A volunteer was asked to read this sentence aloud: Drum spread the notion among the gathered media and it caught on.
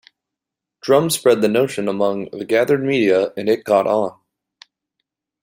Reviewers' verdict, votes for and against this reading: accepted, 2, 0